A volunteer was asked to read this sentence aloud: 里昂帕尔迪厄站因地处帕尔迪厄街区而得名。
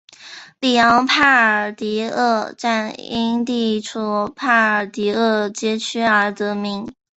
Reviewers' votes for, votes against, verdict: 2, 0, accepted